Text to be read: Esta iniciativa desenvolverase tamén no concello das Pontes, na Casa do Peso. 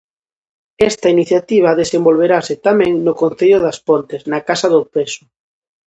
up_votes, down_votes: 2, 0